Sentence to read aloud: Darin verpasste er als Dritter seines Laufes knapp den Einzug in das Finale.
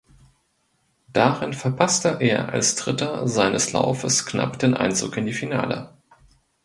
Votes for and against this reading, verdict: 1, 2, rejected